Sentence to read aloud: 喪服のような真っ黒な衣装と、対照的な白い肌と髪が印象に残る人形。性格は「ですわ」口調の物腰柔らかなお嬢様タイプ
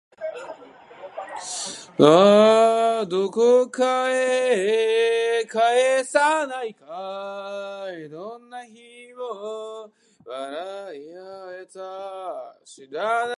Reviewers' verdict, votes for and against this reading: rejected, 0, 2